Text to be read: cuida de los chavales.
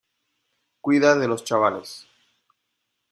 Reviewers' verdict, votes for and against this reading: accepted, 2, 0